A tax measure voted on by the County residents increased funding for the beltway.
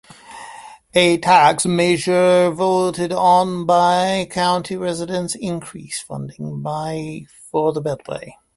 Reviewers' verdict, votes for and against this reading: rejected, 1, 2